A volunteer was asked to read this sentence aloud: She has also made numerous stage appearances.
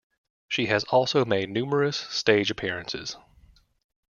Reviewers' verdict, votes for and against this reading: accepted, 2, 0